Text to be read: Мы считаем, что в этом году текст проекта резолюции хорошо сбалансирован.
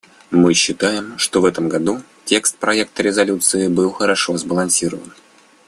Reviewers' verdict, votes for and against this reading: rejected, 0, 2